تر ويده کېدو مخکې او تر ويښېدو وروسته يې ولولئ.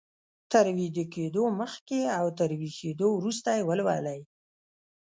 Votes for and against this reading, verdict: 1, 2, rejected